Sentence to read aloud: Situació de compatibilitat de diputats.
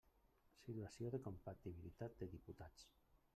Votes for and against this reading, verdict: 0, 2, rejected